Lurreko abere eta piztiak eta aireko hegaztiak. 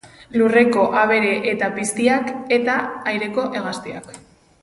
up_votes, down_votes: 4, 0